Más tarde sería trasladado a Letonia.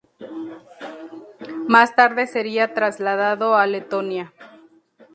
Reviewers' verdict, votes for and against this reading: rejected, 0, 2